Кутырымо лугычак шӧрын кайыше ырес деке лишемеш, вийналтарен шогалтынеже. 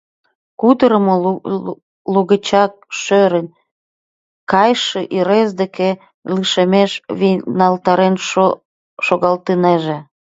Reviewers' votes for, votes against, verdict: 0, 2, rejected